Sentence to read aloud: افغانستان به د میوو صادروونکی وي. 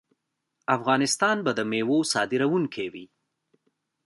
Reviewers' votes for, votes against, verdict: 1, 2, rejected